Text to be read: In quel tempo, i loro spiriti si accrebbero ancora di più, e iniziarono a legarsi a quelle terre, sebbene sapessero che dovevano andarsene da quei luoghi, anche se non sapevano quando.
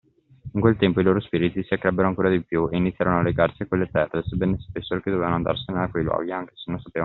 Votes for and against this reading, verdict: 0, 2, rejected